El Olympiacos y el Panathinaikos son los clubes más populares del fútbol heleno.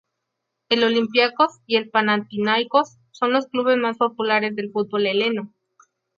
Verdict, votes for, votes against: rejected, 0, 2